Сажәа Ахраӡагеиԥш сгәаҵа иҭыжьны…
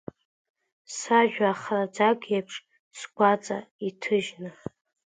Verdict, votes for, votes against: rejected, 1, 2